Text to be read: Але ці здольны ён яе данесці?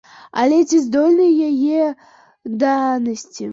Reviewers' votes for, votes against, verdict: 1, 2, rejected